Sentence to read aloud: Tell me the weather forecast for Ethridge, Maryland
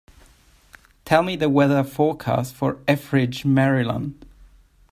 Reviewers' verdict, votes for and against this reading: accepted, 2, 0